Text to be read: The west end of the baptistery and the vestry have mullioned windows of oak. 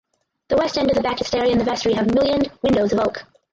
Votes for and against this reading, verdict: 0, 4, rejected